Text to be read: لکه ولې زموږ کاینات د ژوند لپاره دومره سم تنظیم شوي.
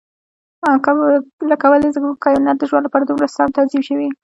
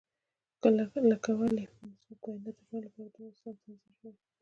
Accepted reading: second